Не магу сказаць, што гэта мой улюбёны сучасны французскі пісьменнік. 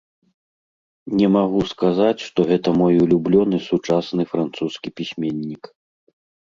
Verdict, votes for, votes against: rejected, 0, 2